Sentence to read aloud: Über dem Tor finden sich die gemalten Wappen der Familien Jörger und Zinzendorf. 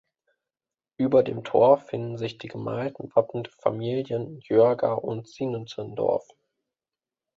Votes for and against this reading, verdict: 0, 2, rejected